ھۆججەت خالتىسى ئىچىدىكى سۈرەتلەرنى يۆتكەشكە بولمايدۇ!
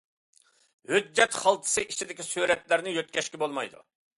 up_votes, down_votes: 2, 0